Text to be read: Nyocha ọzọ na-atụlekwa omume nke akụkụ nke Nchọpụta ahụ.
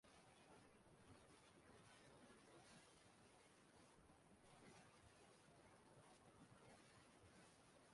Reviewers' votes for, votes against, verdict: 0, 2, rejected